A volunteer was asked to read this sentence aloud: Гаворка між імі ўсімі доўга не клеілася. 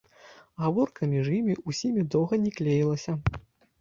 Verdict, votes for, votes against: accepted, 2, 0